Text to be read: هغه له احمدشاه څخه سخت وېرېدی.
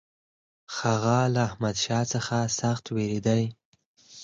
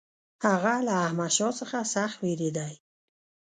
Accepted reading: first